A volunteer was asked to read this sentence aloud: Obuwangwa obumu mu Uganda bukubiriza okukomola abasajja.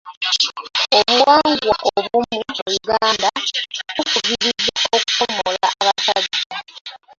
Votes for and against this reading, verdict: 1, 2, rejected